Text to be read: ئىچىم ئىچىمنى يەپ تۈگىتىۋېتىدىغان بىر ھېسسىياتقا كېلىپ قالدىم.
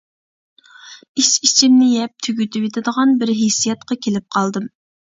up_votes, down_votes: 0, 2